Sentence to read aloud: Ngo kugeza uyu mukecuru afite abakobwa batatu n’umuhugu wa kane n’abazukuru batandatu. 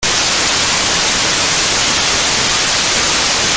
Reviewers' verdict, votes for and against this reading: rejected, 0, 2